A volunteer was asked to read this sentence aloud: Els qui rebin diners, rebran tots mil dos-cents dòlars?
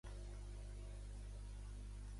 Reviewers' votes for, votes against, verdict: 0, 2, rejected